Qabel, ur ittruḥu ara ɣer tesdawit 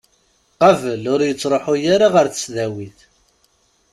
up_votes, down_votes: 2, 0